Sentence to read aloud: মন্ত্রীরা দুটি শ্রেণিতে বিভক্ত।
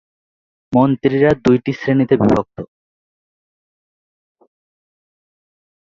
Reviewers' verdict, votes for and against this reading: accepted, 2, 1